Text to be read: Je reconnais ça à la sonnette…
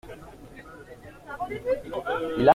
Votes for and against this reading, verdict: 0, 2, rejected